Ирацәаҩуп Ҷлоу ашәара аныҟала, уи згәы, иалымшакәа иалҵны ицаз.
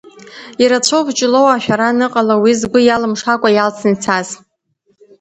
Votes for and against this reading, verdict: 2, 0, accepted